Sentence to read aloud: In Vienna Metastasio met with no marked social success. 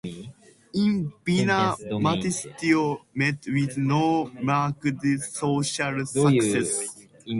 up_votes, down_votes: 1, 2